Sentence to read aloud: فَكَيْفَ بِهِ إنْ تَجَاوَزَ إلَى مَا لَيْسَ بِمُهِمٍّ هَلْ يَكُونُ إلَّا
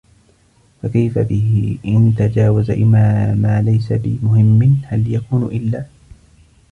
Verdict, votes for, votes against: rejected, 1, 2